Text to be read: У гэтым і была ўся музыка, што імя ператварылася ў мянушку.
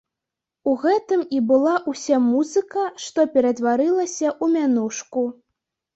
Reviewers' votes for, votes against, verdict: 0, 2, rejected